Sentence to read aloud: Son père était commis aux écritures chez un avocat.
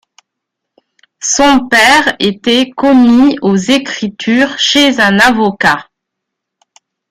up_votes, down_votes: 1, 2